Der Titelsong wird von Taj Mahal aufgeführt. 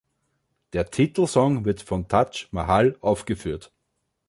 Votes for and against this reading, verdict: 2, 0, accepted